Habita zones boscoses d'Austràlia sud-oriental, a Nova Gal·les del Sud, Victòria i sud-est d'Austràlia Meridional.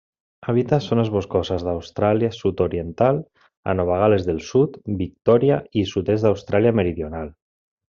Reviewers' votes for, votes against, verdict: 2, 1, accepted